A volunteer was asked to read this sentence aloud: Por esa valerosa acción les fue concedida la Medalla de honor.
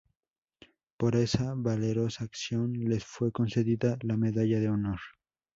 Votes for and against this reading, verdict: 2, 0, accepted